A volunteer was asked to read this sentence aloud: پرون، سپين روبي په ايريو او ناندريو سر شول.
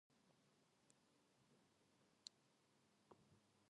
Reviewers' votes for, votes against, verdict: 0, 5, rejected